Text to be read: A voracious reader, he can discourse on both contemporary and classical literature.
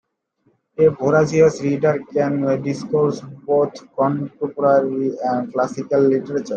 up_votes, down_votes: 1, 2